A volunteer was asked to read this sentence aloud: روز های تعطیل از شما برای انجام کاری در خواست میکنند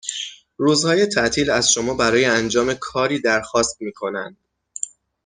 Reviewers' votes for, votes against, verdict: 6, 0, accepted